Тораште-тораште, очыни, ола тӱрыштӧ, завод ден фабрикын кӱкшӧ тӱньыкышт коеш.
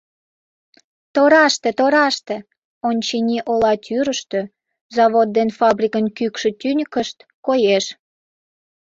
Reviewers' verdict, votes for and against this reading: rejected, 0, 2